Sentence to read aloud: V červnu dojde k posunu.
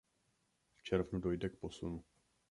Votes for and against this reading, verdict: 1, 2, rejected